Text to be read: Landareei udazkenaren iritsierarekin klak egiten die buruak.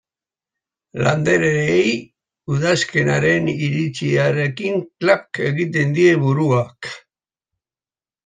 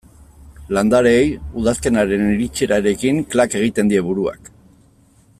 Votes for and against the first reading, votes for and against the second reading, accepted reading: 0, 2, 2, 0, second